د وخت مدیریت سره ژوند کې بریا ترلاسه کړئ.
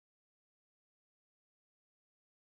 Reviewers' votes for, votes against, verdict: 0, 3, rejected